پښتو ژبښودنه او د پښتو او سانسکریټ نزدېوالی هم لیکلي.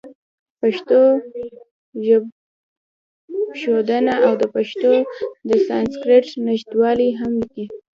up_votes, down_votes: 2, 0